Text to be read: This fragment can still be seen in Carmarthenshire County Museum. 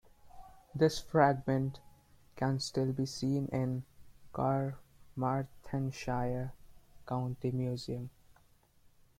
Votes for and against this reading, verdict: 1, 2, rejected